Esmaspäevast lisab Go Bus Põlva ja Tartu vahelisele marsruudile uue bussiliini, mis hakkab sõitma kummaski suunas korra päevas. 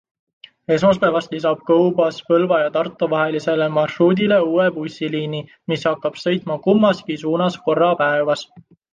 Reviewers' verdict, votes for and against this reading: accepted, 2, 0